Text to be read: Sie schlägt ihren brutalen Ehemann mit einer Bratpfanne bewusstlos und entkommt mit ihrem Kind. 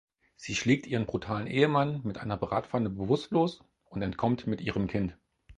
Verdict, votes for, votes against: accepted, 4, 0